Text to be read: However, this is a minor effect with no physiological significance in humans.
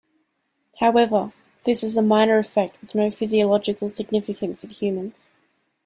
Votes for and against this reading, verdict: 2, 0, accepted